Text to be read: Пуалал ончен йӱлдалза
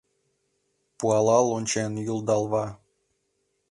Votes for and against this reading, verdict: 0, 2, rejected